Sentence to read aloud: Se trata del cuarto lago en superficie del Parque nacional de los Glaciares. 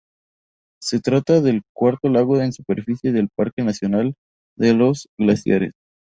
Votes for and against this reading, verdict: 0, 4, rejected